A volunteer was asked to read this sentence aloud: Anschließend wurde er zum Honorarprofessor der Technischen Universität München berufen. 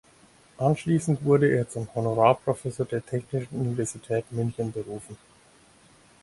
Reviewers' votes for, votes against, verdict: 4, 2, accepted